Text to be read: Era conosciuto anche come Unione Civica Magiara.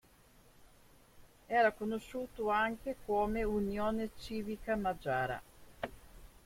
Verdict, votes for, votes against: accepted, 2, 0